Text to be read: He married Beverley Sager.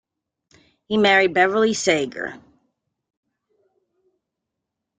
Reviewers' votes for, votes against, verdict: 2, 0, accepted